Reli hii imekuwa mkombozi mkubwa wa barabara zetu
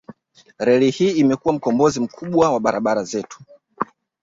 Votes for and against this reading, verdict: 2, 1, accepted